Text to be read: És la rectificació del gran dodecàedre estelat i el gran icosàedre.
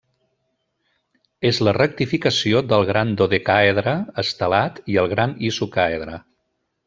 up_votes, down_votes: 0, 2